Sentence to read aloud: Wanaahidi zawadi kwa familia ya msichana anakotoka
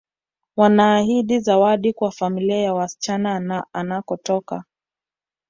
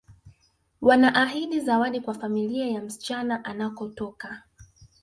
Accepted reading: first